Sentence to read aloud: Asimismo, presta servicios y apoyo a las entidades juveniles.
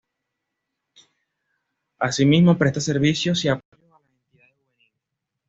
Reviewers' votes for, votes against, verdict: 1, 2, rejected